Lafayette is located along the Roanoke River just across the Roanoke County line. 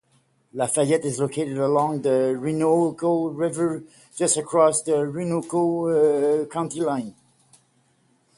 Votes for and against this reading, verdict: 0, 6, rejected